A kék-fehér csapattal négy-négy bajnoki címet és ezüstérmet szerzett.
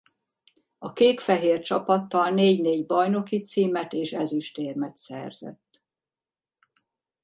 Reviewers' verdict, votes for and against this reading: accepted, 2, 0